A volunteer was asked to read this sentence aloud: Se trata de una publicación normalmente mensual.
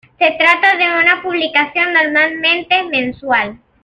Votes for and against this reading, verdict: 2, 0, accepted